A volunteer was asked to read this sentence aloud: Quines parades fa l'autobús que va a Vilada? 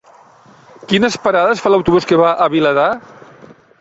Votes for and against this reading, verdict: 1, 2, rejected